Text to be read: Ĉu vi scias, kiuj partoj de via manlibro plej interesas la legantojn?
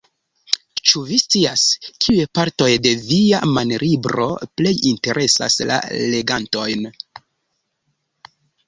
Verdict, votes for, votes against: rejected, 0, 2